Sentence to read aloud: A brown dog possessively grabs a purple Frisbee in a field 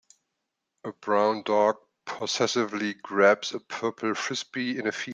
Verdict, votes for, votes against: rejected, 0, 2